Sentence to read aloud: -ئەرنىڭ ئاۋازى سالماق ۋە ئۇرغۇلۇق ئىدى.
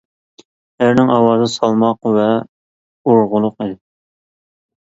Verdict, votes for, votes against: rejected, 1, 2